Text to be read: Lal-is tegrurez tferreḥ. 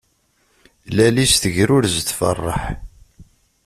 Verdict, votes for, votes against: accepted, 2, 0